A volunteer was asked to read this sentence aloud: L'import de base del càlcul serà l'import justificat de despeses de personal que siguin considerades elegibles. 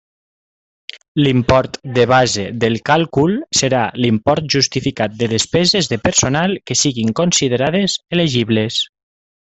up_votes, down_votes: 3, 0